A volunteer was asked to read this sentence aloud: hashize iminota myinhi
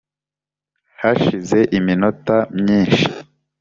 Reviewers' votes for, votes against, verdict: 1, 2, rejected